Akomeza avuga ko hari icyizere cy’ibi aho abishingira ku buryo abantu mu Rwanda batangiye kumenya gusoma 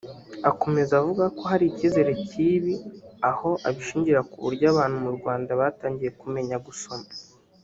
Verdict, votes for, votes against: accepted, 2, 0